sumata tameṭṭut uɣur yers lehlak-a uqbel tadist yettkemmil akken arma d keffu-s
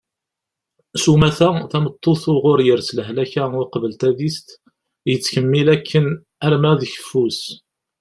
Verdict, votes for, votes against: accepted, 2, 0